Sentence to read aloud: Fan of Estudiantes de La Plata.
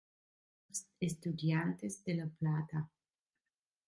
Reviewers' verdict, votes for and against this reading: rejected, 0, 2